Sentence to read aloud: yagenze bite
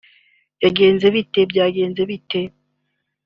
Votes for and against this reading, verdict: 0, 3, rejected